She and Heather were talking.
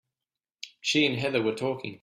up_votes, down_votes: 2, 0